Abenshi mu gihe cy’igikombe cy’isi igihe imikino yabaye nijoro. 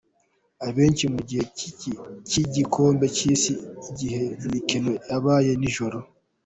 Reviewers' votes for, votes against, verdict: 0, 2, rejected